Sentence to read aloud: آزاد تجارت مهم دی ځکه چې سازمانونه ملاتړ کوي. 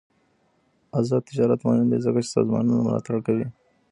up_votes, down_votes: 1, 2